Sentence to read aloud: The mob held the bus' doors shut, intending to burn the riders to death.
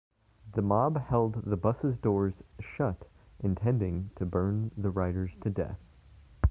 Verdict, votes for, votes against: accepted, 2, 1